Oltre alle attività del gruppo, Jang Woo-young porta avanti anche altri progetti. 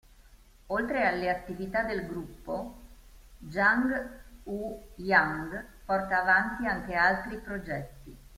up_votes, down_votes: 2, 0